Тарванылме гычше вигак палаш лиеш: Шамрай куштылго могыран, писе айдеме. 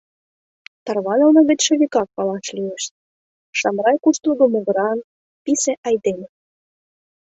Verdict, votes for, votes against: accepted, 2, 0